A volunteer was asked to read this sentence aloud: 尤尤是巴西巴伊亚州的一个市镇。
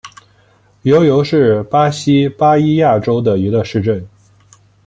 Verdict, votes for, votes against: accepted, 2, 0